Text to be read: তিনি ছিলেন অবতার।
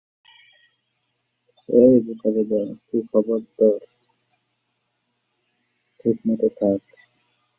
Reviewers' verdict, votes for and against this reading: rejected, 0, 4